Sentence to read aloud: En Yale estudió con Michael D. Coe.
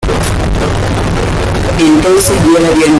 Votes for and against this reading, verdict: 0, 2, rejected